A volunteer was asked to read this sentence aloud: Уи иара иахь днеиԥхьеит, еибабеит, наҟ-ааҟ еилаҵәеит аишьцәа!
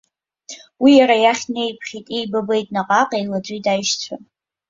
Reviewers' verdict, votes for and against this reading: accepted, 2, 1